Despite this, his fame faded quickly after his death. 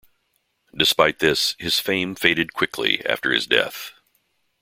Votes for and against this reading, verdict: 2, 0, accepted